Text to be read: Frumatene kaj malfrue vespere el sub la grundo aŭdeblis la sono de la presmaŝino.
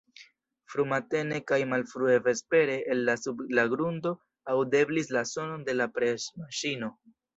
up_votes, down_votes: 1, 2